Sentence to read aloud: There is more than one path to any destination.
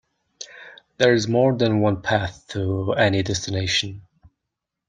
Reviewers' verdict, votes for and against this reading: rejected, 1, 2